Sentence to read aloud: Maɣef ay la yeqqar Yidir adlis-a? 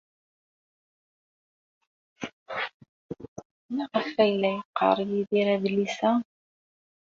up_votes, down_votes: 1, 2